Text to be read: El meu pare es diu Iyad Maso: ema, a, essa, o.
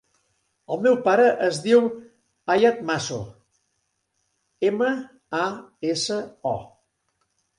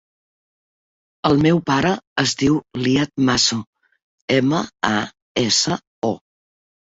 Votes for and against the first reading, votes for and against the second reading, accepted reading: 0, 2, 2, 0, second